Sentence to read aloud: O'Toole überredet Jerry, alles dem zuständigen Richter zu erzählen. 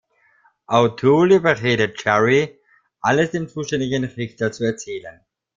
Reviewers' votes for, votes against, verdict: 2, 0, accepted